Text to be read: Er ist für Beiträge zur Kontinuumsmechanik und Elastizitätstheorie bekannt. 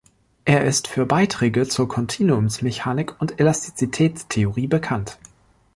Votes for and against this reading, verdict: 2, 0, accepted